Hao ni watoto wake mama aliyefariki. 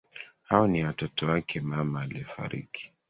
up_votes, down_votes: 2, 1